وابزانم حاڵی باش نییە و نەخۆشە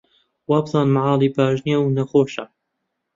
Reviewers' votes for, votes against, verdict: 1, 2, rejected